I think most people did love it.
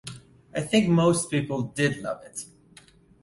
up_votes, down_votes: 2, 0